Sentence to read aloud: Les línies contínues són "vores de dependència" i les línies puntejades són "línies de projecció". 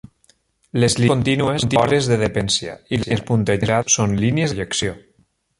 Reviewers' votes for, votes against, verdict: 0, 2, rejected